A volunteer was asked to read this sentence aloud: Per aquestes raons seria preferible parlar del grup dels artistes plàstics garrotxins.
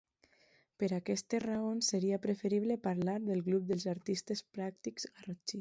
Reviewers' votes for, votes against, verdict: 1, 2, rejected